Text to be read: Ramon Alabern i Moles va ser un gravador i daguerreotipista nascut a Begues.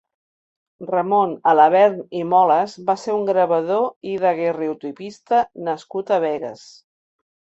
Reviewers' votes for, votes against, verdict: 2, 0, accepted